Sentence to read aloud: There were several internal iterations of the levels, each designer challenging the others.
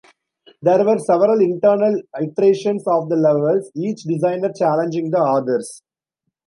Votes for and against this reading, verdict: 1, 2, rejected